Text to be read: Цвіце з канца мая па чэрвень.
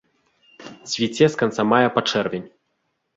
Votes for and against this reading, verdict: 3, 0, accepted